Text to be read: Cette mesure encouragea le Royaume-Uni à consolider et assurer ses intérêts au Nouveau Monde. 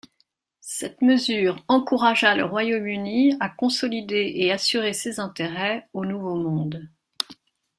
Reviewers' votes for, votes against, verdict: 2, 0, accepted